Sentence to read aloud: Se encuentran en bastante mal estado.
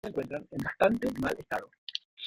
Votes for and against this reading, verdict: 1, 2, rejected